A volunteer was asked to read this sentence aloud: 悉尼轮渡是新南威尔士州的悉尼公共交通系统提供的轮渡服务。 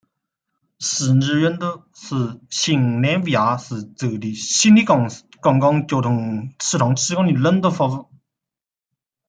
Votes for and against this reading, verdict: 2, 1, accepted